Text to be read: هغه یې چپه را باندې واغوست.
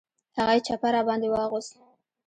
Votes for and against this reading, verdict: 2, 0, accepted